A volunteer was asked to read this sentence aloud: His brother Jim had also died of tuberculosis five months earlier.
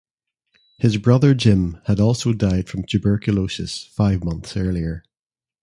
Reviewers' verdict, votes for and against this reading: accepted, 2, 1